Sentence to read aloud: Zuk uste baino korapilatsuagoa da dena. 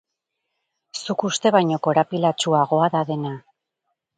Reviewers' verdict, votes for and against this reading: rejected, 0, 2